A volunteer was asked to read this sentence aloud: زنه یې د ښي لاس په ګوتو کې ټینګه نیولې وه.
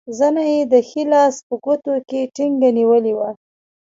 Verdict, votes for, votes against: rejected, 0, 2